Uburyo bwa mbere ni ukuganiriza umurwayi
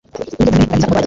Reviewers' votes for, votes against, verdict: 1, 3, rejected